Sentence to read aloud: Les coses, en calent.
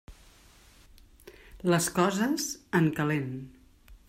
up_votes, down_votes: 3, 0